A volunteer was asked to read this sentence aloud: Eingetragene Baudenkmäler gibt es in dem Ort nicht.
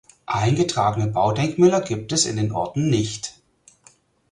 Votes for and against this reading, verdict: 0, 4, rejected